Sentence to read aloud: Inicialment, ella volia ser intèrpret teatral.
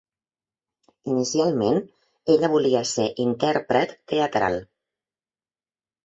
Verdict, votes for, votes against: accepted, 4, 0